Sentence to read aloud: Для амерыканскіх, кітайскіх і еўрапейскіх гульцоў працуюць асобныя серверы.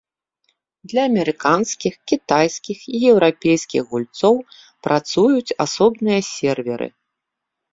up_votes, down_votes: 2, 0